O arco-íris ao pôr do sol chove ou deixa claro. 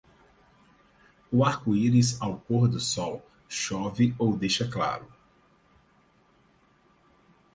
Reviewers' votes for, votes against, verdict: 4, 0, accepted